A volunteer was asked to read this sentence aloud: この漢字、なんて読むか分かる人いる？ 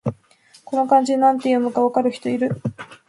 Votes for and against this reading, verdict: 2, 0, accepted